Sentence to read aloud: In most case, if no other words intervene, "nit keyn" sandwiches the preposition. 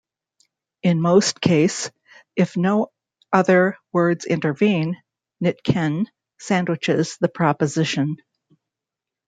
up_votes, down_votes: 1, 2